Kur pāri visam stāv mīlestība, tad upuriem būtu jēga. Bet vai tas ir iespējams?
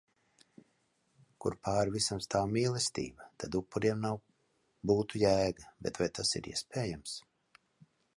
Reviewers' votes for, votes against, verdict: 1, 2, rejected